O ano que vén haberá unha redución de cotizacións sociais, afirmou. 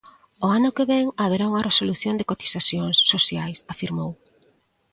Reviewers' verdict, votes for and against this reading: rejected, 0, 2